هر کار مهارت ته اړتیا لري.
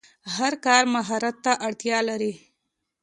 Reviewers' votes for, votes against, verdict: 2, 0, accepted